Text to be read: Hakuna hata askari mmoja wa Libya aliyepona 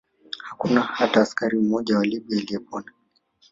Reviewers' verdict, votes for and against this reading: accepted, 2, 1